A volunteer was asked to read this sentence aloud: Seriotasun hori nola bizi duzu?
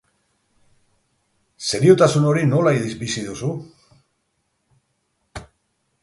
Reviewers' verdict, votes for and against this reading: rejected, 2, 4